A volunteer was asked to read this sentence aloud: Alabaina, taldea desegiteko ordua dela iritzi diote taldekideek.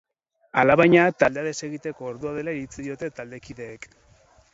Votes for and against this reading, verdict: 0, 4, rejected